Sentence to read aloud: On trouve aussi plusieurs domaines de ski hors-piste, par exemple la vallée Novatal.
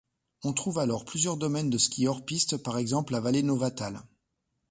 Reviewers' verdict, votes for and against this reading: rejected, 1, 2